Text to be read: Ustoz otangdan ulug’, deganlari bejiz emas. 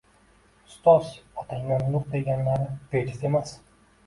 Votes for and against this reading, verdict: 2, 0, accepted